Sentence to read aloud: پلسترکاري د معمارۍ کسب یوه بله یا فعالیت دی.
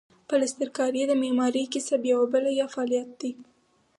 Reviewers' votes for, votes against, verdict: 4, 0, accepted